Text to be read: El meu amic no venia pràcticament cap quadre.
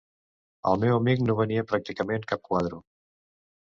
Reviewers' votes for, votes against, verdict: 1, 2, rejected